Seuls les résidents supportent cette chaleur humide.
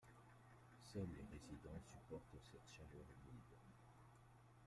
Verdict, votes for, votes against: rejected, 1, 2